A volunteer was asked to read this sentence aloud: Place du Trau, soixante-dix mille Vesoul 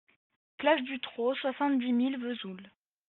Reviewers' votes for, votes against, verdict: 2, 0, accepted